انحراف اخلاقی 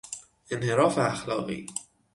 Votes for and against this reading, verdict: 6, 0, accepted